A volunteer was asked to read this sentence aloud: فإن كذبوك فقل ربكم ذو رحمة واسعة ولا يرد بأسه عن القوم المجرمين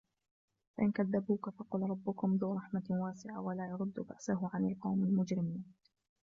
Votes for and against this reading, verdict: 0, 2, rejected